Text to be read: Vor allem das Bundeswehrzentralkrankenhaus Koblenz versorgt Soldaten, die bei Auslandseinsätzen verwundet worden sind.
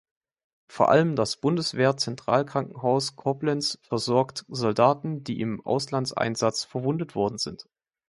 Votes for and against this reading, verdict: 0, 2, rejected